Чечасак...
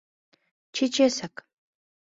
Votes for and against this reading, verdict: 2, 0, accepted